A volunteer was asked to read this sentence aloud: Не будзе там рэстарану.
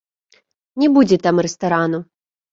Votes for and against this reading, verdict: 1, 2, rejected